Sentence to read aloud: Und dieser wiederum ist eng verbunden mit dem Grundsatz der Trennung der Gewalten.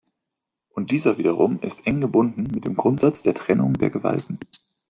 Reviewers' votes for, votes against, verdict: 0, 2, rejected